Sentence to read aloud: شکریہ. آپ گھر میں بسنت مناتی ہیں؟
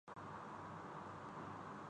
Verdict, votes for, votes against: rejected, 1, 3